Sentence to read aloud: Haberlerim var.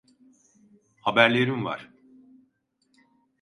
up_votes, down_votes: 2, 0